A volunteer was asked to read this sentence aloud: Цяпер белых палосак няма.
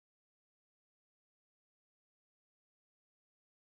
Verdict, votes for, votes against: rejected, 0, 2